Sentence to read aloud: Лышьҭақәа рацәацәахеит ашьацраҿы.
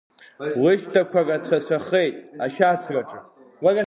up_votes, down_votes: 1, 2